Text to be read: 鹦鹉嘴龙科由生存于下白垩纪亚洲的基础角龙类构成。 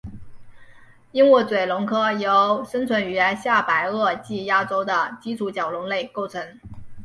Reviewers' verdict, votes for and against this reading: accepted, 2, 0